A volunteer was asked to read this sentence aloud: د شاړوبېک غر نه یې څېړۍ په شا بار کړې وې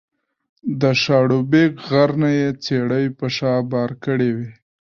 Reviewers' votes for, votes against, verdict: 2, 1, accepted